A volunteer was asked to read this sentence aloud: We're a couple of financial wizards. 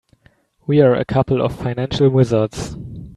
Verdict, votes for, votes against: accepted, 2, 0